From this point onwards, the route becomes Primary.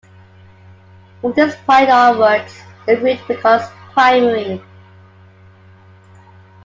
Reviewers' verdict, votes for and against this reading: accepted, 2, 0